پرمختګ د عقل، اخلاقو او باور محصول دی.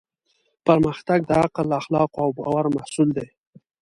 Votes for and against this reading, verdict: 3, 0, accepted